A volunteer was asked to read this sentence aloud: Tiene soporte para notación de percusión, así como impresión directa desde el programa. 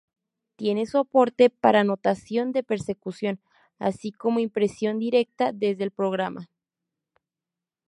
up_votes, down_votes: 0, 2